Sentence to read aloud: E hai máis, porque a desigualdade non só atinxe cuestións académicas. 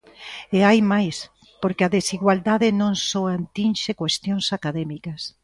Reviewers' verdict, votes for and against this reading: rejected, 0, 2